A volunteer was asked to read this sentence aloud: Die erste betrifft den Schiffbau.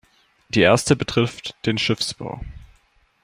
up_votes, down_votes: 0, 2